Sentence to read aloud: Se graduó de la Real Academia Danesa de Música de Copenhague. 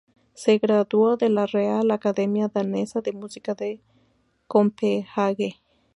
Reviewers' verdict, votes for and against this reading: rejected, 0, 2